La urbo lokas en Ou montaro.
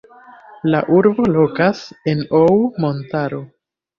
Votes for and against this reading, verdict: 2, 0, accepted